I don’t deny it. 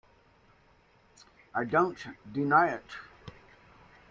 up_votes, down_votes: 2, 0